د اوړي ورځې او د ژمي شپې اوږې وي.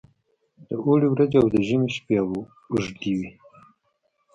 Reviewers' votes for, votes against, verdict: 1, 2, rejected